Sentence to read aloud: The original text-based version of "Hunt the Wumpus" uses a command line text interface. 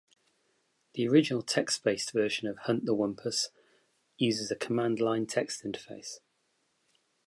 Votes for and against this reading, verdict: 2, 0, accepted